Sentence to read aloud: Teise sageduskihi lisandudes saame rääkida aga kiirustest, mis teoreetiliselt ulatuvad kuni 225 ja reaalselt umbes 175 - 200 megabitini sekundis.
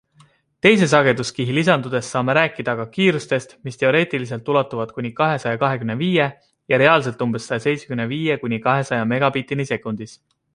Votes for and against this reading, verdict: 0, 2, rejected